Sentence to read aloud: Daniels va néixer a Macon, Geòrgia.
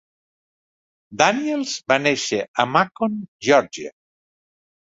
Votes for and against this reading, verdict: 2, 0, accepted